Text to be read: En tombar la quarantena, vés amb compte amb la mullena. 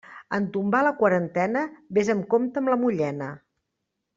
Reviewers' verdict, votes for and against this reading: accepted, 3, 0